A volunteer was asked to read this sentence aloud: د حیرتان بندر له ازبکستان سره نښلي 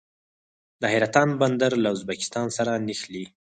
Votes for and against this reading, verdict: 0, 4, rejected